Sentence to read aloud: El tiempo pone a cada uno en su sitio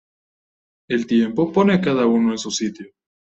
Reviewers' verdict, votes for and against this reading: accepted, 2, 0